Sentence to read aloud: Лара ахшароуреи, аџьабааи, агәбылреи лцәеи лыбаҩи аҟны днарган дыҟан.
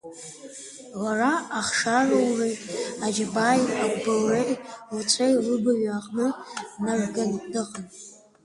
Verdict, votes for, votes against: rejected, 0, 3